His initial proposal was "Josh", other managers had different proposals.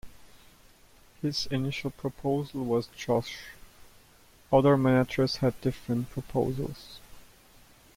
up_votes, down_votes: 1, 2